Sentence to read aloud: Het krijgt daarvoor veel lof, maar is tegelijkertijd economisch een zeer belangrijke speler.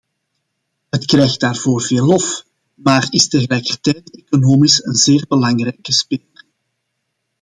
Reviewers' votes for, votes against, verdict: 0, 2, rejected